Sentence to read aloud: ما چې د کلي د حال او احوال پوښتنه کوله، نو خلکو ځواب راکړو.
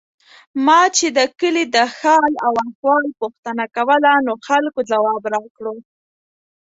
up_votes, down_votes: 2, 0